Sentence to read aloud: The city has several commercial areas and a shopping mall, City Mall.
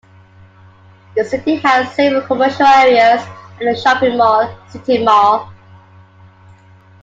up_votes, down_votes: 2, 0